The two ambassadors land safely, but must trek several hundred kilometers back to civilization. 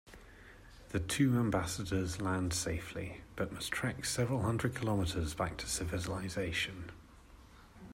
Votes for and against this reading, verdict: 0, 2, rejected